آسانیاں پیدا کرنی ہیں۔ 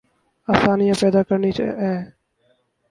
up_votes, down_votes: 0, 2